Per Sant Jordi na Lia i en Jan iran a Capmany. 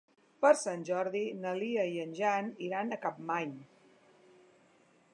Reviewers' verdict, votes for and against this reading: accepted, 3, 0